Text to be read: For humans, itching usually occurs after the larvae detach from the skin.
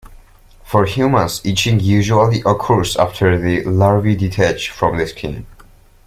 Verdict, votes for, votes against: rejected, 0, 2